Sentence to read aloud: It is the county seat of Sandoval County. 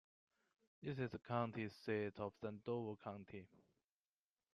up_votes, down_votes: 1, 2